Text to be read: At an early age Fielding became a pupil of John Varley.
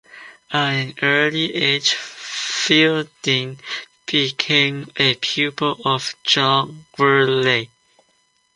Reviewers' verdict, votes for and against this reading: rejected, 1, 2